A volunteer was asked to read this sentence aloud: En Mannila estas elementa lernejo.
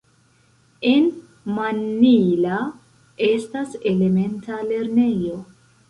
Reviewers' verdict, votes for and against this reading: accepted, 2, 0